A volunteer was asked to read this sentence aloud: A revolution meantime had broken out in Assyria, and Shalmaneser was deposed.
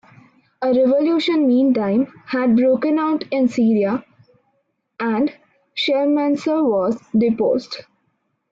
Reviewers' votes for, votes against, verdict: 0, 2, rejected